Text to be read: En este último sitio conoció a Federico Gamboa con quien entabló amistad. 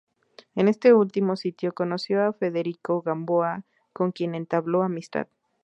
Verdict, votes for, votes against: accepted, 4, 0